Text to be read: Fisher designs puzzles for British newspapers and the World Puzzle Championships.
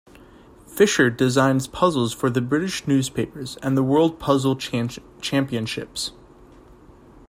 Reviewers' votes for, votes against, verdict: 1, 2, rejected